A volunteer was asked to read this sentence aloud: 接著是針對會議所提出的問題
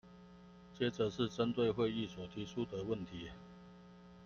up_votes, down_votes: 2, 0